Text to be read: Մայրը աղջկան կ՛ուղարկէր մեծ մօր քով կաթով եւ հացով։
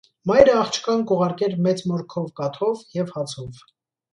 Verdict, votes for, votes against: accepted, 2, 0